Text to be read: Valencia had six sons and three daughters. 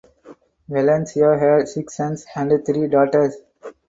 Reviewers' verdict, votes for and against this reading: rejected, 2, 2